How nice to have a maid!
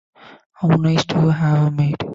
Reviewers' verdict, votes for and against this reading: rejected, 0, 2